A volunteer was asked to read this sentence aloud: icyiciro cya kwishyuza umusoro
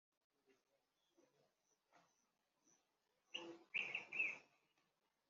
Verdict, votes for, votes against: rejected, 1, 3